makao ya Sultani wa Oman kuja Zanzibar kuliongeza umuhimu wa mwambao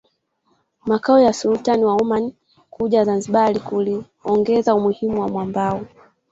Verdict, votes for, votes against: rejected, 1, 2